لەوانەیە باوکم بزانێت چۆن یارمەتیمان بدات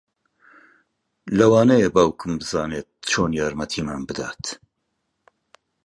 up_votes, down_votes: 2, 1